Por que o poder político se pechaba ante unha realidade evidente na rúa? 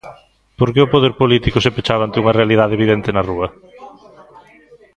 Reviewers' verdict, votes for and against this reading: accepted, 2, 0